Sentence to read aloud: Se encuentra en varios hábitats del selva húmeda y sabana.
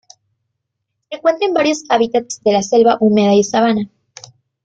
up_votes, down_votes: 0, 2